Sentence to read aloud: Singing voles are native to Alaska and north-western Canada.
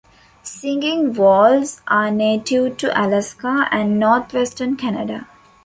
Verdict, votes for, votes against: accepted, 2, 0